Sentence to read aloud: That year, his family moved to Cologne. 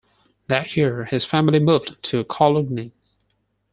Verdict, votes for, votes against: rejected, 0, 4